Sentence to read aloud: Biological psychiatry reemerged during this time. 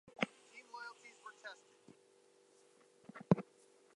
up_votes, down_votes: 0, 4